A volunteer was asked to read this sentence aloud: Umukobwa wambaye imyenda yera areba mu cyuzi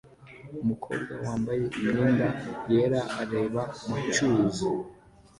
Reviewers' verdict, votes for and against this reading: accepted, 2, 0